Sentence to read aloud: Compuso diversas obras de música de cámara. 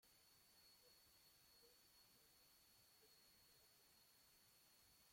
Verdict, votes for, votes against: rejected, 0, 2